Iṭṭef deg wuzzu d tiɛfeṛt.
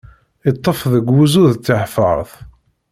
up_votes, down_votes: 2, 1